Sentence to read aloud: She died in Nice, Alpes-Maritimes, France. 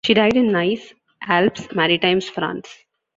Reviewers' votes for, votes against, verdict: 2, 0, accepted